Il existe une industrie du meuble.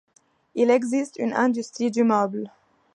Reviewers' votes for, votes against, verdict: 2, 0, accepted